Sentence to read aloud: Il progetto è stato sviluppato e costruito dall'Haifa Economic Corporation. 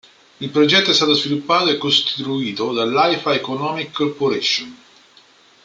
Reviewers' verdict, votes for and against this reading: rejected, 0, 2